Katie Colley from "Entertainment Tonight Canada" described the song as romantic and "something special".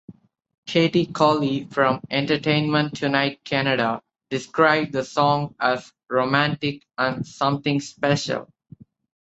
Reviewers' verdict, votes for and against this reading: accepted, 4, 2